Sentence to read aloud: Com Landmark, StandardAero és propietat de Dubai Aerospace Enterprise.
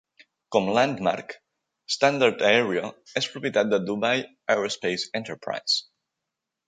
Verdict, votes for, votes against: accepted, 2, 0